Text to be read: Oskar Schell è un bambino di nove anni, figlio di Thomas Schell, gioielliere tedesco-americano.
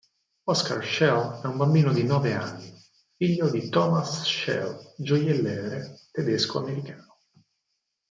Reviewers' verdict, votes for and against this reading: rejected, 0, 4